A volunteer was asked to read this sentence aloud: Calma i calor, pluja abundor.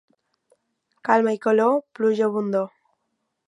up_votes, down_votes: 2, 0